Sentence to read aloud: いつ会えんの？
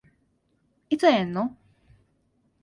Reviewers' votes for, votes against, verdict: 2, 0, accepted